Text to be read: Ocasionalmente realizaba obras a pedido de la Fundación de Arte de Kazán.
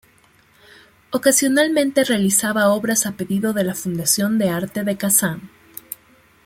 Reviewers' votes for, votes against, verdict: 2, 0, accepted